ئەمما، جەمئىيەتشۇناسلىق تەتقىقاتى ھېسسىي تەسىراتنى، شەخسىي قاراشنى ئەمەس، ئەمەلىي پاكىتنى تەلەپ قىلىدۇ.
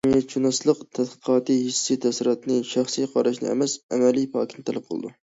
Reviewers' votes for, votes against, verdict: 1, 2, rejected